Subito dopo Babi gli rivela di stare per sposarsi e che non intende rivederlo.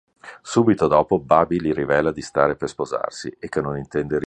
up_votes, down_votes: 0, 2